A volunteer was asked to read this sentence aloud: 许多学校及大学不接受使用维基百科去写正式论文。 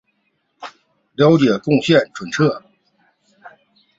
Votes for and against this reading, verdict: 0, 2, rejected